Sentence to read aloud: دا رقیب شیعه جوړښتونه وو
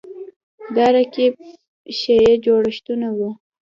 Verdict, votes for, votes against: accepted, 2, 0